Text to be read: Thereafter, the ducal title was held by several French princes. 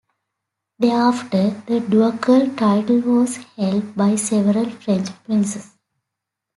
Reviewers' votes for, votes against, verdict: 2, 1, accepted